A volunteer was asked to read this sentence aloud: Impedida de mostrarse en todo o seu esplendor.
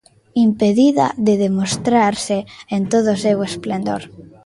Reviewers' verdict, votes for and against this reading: rejected, 0, 2